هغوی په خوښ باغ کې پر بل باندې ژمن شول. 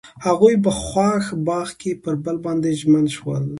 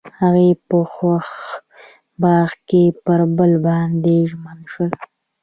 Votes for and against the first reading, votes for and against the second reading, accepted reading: 2, 0, 1, 2, first